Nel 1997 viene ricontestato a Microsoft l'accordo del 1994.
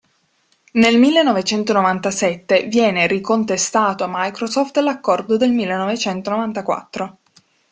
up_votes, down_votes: 0, 2